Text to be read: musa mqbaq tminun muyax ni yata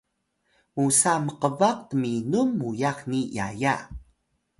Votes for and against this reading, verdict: 1, 2, rejected